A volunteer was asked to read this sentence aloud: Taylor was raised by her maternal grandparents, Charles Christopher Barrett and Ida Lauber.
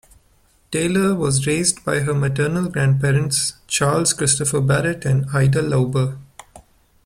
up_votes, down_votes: 1, 2